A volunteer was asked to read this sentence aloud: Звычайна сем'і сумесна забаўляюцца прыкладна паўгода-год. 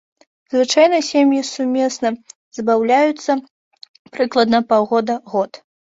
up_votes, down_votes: 2, 1